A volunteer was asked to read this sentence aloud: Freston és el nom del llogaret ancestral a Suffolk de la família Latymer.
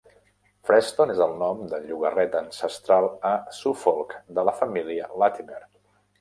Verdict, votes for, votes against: rejected, 0, 2